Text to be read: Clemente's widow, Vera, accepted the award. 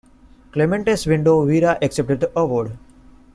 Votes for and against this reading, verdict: 1, 2, rejected